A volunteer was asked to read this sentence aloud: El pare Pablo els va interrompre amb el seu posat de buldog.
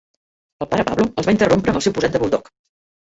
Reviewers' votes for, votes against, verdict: 0, 2, rejected